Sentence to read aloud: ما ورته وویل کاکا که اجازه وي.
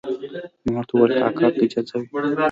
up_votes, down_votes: 2, 0